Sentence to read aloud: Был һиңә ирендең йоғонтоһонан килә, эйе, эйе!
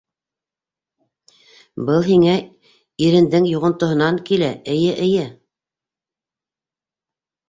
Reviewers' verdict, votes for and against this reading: accepted, 2, 0